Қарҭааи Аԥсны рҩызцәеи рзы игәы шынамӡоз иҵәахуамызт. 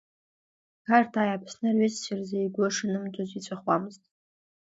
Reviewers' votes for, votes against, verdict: 1, 2, rejected